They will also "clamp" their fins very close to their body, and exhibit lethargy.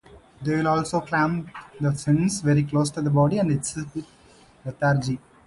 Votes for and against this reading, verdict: 0, 2, rejected